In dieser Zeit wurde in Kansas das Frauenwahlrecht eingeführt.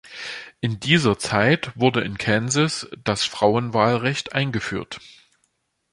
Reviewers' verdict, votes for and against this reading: accepted, 2, 0